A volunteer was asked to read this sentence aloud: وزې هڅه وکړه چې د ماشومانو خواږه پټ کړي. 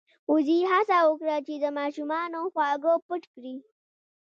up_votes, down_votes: 0, 2